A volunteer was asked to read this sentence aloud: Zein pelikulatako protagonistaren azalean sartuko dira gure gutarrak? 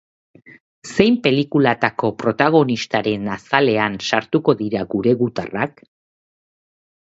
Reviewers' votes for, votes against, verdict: 3, 0, accepted